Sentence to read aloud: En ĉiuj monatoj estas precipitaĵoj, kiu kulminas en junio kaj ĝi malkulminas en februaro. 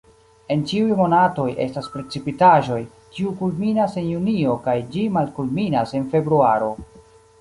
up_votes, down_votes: 2, 0